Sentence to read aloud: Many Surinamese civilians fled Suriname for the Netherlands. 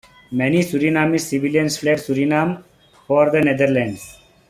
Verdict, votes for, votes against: rejected, 0, 2